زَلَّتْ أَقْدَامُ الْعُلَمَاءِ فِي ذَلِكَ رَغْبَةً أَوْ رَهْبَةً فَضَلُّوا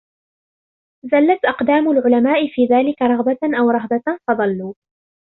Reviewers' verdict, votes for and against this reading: accepted, 2, 0